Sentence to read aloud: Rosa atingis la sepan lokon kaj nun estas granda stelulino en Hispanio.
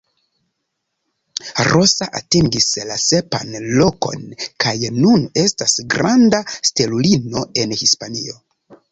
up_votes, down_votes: 2, 0